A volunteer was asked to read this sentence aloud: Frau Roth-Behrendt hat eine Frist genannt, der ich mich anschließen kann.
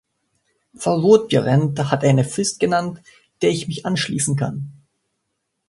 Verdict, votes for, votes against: accepted, 2, 0